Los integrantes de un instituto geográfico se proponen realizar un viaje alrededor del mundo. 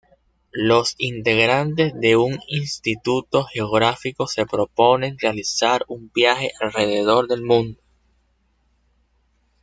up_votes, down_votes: 1, 2